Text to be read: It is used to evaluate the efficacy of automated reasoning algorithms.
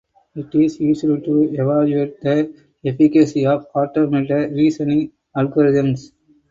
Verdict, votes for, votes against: rejected, 2, 2